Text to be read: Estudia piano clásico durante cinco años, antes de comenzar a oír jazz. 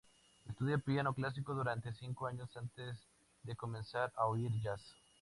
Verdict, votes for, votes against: accepted, 2, 0